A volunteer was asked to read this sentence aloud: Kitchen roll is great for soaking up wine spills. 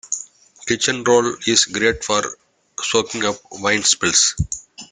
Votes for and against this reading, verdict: 2, 0, accepted